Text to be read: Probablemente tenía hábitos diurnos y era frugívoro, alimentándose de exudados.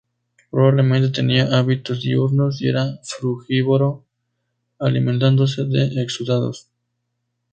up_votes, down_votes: 2, 0